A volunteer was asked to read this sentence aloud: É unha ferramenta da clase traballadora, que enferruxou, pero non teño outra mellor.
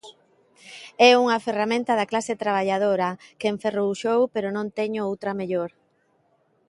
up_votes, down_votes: 2, 1